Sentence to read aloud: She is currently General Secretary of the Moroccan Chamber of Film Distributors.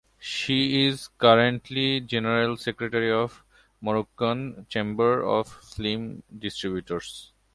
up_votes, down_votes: 0, 2